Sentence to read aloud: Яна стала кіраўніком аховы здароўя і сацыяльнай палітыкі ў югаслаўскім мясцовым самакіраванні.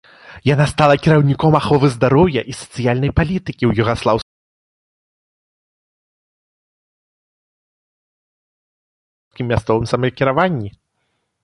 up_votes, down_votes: 0, 2